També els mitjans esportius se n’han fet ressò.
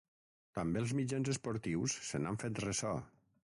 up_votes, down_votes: 3, 6